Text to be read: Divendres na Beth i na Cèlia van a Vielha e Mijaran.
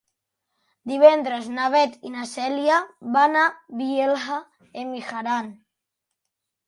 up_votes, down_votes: 0, 2